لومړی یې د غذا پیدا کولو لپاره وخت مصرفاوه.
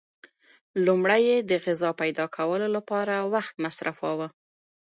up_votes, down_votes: 2, 0